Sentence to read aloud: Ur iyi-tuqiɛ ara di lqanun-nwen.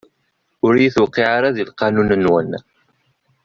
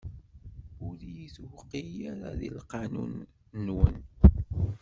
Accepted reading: first